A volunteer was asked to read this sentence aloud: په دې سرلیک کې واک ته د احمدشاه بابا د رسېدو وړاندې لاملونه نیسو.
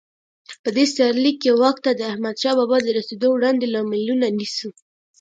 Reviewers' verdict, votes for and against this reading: rejected, 0, 2